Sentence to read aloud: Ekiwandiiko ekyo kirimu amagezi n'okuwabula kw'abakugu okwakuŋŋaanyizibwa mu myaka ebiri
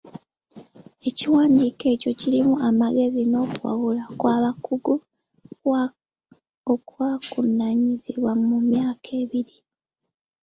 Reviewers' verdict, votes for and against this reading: rejected, 0, 2